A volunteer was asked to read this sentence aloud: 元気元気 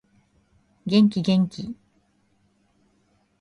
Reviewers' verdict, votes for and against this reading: accepted, 2, 0